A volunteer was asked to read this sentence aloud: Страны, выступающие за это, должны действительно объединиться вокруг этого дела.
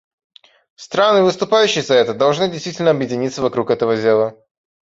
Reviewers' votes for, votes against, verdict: 2, 0, accepted